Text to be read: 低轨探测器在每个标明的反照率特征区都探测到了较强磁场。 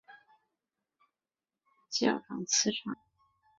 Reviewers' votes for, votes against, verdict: 0, 2, rejected